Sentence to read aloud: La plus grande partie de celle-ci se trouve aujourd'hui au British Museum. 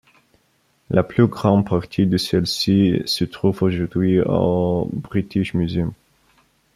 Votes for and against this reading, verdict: 1, 2, rejected